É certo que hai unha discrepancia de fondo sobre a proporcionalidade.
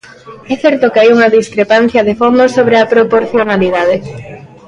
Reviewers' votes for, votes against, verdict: 2, 0, accepted